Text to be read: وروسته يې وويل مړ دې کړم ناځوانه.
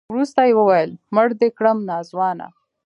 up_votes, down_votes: 1, 2